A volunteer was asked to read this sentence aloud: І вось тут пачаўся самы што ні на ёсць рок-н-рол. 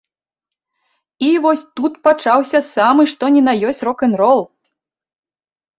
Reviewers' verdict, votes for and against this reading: accepted, 2, 0